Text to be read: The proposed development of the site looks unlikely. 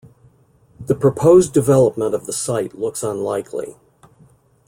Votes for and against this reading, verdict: 2, 0, accepted